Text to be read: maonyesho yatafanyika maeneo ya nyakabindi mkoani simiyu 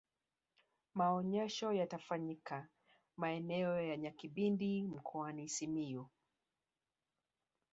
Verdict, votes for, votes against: rejected, 1, 2